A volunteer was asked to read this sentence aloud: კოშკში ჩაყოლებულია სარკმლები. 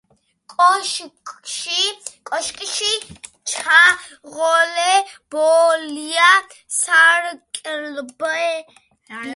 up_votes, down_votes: 0, 2